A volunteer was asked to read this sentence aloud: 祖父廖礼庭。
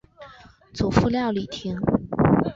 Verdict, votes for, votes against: accepted, 3, 0